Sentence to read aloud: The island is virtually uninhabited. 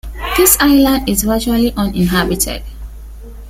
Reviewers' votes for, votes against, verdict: 0, 2, rejected